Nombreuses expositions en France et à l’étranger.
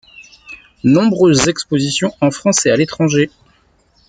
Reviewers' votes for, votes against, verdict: 0, 2, rejected